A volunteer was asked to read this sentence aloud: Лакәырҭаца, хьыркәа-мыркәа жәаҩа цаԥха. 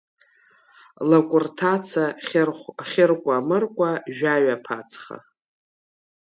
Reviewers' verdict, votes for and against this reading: rejected, 0, 2